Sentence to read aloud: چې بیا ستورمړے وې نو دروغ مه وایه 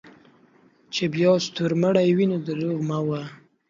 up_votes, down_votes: 2, 0